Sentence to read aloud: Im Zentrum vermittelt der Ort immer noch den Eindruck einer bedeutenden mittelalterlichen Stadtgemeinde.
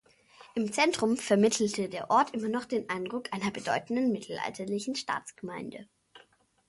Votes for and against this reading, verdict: 0, 2, rejected